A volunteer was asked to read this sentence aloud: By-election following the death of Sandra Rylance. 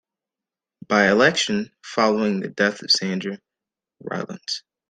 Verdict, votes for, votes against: accepted, 2, 0